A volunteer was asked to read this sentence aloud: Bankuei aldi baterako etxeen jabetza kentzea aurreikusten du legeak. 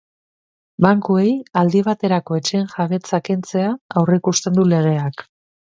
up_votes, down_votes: 3, 0